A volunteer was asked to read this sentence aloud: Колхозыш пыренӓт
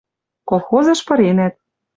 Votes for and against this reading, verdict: 2, 0, accepted